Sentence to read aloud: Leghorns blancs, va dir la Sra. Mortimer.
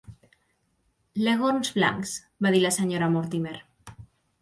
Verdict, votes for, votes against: accepted, 2, 0